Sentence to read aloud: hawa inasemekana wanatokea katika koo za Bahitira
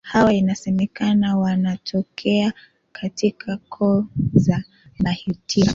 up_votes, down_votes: 2, 0